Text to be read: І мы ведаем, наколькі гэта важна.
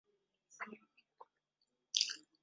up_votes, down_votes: 0, 2